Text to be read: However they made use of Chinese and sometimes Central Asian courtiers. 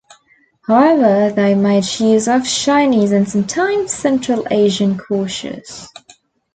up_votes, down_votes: 1, 2